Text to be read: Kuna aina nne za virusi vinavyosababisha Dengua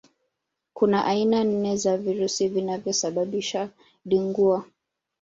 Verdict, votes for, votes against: accepted, 2, 1